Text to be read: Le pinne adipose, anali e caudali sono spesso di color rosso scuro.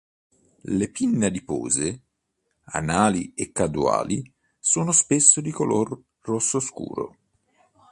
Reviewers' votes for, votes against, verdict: 1, 3, rejected